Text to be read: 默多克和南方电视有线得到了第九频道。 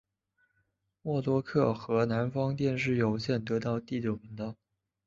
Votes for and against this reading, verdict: 2, 0, accepted